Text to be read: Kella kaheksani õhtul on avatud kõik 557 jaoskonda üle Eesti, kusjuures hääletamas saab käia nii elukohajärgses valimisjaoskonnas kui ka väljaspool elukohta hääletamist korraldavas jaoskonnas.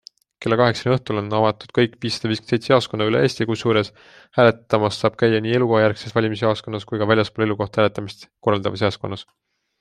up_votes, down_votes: 0, 2